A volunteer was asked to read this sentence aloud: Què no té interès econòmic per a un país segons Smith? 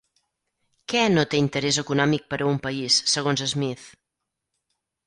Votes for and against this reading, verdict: 8, 0, accepted